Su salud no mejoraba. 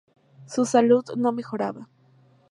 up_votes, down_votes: 2, 0